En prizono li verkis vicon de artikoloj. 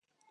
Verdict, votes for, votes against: rejected, 1, 2